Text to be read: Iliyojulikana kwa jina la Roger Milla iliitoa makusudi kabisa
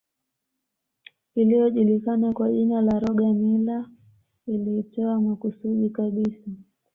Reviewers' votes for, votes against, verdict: 0, 2, rejected